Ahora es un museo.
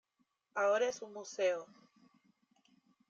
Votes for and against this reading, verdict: 0, 2, rejected